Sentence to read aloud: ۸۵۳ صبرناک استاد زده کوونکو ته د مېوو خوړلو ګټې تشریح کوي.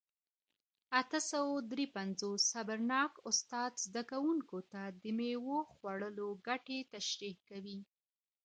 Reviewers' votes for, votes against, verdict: 0, 2, rejected